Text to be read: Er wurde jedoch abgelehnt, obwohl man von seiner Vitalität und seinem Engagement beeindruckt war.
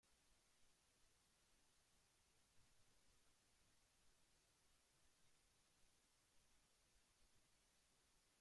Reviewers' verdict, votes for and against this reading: rejected, 0, 2